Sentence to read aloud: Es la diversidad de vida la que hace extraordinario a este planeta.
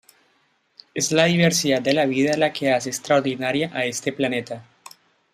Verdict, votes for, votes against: rejected, 1, 2